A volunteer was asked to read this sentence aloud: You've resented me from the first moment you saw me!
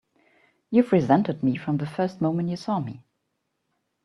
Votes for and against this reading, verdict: 0, 2, rejected